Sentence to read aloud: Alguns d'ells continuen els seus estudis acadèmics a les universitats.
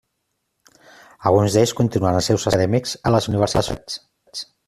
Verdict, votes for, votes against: rejected, 0, 2